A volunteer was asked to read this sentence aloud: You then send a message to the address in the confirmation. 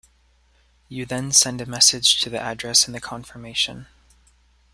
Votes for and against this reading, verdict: 2, 0, accepted